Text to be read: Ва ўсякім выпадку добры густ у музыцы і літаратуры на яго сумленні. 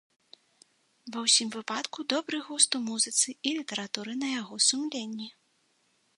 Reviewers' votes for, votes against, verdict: 1, 2, rejected